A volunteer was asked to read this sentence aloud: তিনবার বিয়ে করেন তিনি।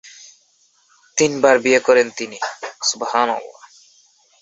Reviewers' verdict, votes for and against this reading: rejected, 2, 13